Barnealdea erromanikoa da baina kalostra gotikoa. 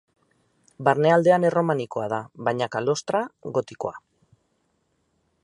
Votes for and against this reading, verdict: 0, 4, rejected